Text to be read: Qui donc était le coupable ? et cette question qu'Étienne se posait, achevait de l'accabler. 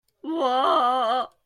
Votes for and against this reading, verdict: 0, 2, rejected